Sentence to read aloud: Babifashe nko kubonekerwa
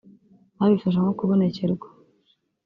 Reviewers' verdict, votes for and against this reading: accepted, 2, 1